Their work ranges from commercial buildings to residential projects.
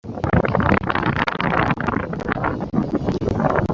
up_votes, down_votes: 0, 2